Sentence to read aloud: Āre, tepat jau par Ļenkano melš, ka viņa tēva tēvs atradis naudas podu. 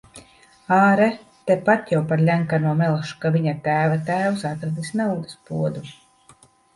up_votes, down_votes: 2, 0